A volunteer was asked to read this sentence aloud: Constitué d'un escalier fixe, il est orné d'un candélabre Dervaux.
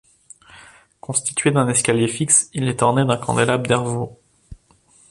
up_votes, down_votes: 2, 0